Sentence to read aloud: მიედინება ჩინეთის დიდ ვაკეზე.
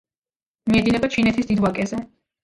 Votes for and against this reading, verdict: 2, 0, accepted